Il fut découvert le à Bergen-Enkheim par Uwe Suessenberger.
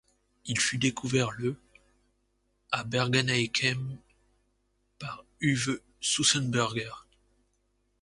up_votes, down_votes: 0, 2